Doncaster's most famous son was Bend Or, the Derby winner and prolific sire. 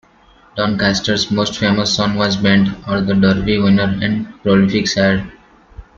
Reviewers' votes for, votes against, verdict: 1, 3, rejected